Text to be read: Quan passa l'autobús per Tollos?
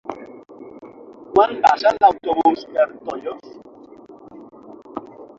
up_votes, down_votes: 0, 6